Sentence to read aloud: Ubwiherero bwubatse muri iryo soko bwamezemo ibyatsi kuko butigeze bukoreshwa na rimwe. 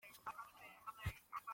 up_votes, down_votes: 0, 2